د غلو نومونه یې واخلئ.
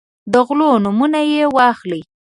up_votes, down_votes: 2, 0